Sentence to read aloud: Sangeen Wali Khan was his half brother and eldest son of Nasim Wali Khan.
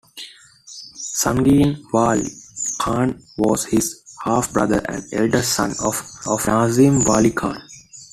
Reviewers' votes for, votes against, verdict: 2, 1, accepted